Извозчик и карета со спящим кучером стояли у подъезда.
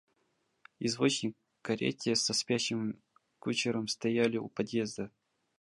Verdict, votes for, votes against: rejected, 0, 2